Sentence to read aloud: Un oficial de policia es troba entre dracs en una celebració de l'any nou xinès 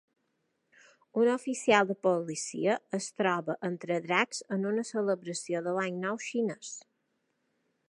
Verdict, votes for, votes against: accepted, 2, 0